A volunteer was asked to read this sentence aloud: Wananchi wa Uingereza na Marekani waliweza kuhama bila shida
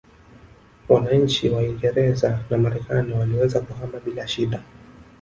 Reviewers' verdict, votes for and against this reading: rejected, 1, 2